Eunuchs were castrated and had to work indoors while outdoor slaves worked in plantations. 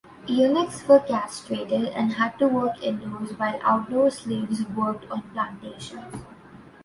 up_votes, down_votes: 2, 0